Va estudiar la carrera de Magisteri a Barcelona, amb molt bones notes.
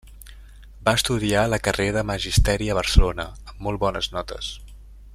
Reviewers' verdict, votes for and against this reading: rejected, 1, 2